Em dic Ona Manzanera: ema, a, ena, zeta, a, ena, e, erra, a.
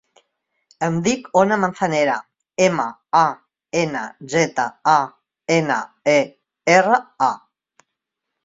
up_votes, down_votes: 2, 0